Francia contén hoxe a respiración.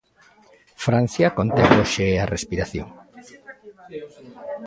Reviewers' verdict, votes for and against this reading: rejected, 0, 2